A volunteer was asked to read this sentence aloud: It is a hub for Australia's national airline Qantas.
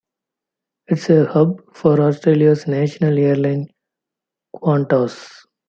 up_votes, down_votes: 0, 2